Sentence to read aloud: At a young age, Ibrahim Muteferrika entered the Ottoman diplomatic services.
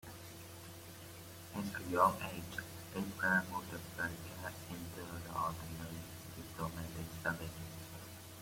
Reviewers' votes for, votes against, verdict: 1, 2, rejected